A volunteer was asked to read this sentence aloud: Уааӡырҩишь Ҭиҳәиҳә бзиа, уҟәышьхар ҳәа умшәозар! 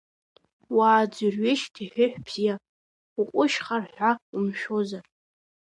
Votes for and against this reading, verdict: 0, 2, rejected